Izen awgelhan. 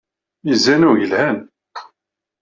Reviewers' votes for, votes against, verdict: 2, 0, accepted